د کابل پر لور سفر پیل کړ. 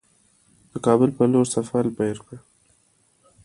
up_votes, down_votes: 0, 2